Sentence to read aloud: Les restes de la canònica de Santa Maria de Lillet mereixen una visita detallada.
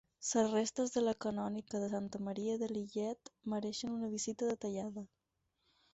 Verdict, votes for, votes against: accepted, 4, 0